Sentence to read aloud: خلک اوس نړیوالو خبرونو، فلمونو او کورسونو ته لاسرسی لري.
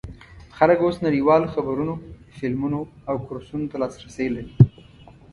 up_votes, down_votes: 2, 0